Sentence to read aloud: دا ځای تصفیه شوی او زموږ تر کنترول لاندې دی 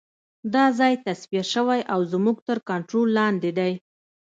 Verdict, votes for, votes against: accepted, 2, 0